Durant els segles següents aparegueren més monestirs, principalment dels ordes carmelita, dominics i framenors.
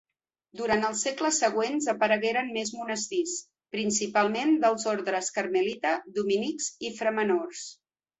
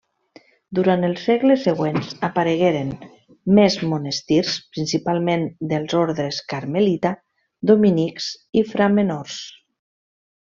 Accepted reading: second